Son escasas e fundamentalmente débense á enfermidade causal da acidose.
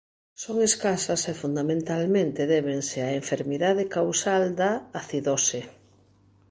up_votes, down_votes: 0, 2